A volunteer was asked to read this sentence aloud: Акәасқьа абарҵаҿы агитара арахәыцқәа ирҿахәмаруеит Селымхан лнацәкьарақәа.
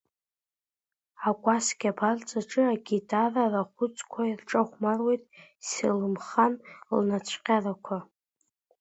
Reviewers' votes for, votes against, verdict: 2, 1, accepted